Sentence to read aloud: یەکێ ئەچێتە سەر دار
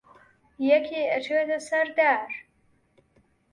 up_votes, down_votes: 1, 2